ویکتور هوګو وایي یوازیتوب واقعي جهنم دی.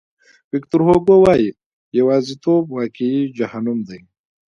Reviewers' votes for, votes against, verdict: 2, 1, accepted